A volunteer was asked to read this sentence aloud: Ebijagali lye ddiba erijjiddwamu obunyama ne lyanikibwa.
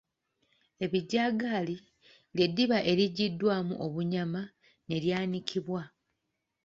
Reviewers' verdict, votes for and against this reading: accepted, 2, 1